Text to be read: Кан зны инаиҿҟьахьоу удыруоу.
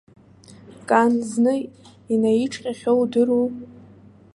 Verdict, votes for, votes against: rejected, 0, 2